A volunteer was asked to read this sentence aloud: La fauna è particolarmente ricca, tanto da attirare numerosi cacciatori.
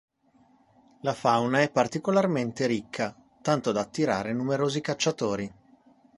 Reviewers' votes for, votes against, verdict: 2, 0, accepted